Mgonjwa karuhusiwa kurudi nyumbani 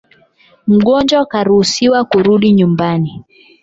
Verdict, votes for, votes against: accepted, 12, 8